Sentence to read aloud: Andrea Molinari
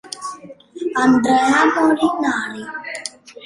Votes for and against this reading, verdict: 1, 2, rejected